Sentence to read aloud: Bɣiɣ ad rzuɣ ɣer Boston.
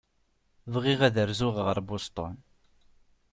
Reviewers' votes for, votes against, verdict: 2, 0, accepted